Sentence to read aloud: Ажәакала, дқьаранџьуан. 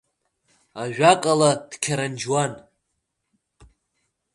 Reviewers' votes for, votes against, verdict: 1, 2, rejected